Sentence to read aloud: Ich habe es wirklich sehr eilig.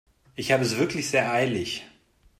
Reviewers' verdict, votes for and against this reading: accepted, 2, 0